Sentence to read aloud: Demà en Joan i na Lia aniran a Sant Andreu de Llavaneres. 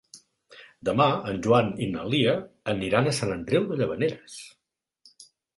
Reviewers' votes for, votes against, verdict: 3, 0, accepted